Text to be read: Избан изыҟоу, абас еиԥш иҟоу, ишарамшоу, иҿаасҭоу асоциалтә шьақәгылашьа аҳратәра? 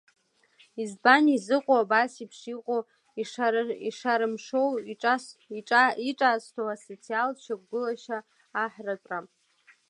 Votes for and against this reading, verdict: 1, 2, rejected